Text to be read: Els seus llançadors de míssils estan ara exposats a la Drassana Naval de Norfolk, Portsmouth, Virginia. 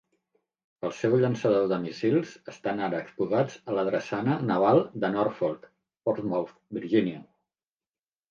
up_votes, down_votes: 1, 2